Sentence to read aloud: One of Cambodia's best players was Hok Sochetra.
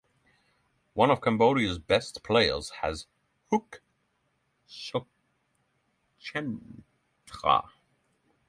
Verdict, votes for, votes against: rejected, 0, 6